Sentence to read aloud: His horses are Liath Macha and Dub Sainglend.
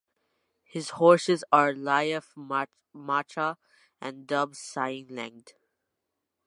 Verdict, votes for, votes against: rejected, 0, 2